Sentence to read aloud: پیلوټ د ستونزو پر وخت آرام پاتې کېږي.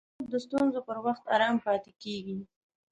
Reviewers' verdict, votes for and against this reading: rejected, 1, 2